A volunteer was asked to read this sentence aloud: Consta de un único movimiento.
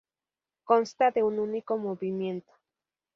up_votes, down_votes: 2, 0